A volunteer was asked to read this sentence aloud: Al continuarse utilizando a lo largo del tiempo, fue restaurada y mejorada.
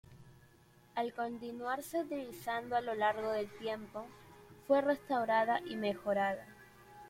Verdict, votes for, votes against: accepted, 2, 0